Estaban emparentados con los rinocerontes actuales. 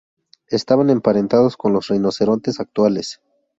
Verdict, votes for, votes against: accepted, 4, 0